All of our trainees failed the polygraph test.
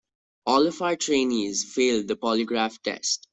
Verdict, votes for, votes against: accepted, 2, 0